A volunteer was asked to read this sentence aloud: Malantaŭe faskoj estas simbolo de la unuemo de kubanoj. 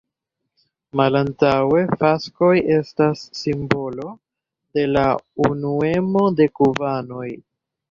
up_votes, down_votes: 1, 2